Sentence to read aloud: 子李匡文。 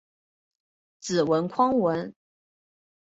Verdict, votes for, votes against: accepted, 2, 0